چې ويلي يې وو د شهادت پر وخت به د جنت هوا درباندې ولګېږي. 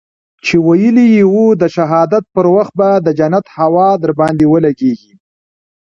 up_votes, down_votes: 2, 1